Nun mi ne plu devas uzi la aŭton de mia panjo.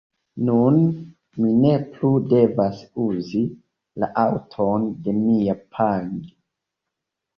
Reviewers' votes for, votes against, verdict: 2, 1, accepted